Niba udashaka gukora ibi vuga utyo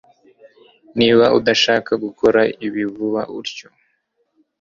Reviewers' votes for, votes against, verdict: 3, 0, accepted